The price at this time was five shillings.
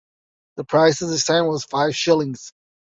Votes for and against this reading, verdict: 1, 2, rejected